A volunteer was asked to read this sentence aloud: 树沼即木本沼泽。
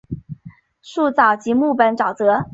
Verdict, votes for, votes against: accepted, 3, 1